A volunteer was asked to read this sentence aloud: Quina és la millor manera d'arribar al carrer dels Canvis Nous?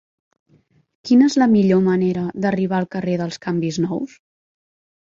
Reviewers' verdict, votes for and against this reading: accepted, 4, 0